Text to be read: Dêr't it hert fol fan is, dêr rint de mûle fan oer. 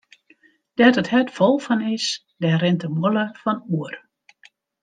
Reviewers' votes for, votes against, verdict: 2, 0, accepted